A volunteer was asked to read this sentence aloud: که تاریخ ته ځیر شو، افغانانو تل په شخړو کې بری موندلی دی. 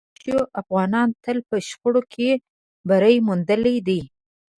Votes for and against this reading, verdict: 0, 2, rejected